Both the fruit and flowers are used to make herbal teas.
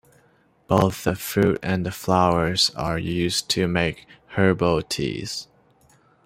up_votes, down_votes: 0, 2